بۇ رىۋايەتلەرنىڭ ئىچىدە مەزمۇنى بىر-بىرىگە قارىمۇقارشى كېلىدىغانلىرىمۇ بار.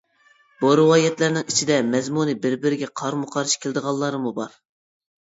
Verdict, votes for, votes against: rejected, 0, 2